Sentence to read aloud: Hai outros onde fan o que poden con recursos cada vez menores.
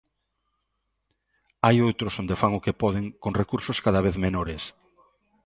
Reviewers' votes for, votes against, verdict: 2, 0, accepted